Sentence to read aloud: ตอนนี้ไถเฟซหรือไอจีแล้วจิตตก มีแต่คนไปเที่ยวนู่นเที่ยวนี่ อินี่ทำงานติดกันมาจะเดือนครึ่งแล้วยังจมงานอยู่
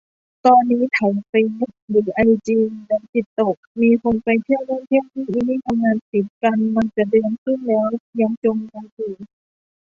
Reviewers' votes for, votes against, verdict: 1, 2, rejected